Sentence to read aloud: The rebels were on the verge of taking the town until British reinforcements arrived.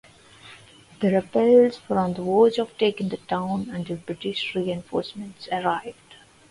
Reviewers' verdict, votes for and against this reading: accepted, 2, 0